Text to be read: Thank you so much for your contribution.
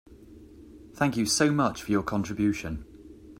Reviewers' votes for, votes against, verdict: 2, 1, accepted